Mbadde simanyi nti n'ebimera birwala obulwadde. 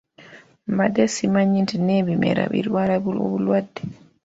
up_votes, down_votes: 1, 2